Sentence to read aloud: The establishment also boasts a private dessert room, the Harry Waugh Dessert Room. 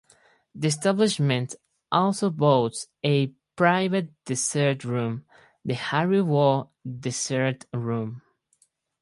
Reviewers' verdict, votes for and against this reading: rejected, 0, 2